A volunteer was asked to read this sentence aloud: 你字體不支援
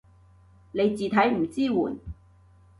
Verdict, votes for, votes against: rejected, 0, 2